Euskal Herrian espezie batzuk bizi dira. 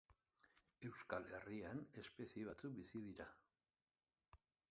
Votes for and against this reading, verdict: 2, 1, accepted